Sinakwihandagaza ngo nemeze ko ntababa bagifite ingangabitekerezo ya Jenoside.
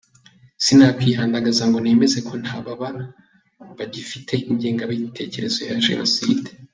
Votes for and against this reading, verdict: 1, 2, rejected